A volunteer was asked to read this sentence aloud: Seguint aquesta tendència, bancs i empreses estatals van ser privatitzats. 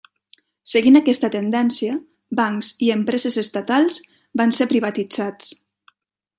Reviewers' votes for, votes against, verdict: 3, 0, accepted